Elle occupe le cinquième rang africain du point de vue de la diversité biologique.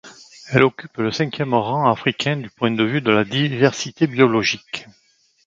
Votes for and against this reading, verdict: 2, 1, accepted